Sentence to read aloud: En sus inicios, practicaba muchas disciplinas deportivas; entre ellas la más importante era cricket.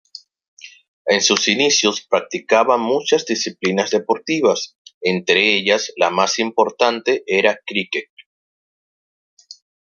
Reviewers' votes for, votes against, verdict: 2, 1, accepted